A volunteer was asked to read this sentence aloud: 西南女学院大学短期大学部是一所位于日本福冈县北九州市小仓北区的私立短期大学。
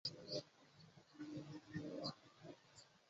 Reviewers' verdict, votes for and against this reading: rejected, 0, 2